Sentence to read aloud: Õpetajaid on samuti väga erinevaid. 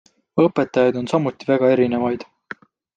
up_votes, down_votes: 2, 0